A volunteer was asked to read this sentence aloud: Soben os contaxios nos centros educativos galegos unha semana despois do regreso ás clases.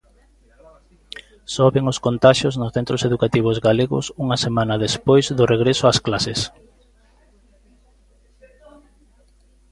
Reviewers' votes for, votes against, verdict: 0, 2, rejected